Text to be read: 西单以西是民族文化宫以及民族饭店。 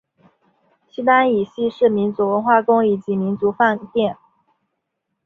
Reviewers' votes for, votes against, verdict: 1, 2, rejected